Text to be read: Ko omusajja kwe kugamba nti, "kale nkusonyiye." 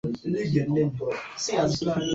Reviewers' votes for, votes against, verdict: 0, 2, rejected